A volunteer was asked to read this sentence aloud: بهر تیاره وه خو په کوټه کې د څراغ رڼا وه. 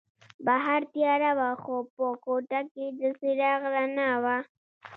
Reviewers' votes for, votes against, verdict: 1, 2, rejected